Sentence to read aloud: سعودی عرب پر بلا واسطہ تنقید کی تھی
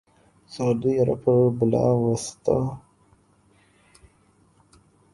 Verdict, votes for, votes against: rejected, 0, 2